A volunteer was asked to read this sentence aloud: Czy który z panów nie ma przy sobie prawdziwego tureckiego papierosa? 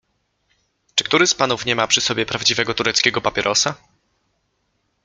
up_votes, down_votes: 2, 0